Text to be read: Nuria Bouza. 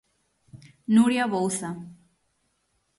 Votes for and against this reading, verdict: 6, 0, accepted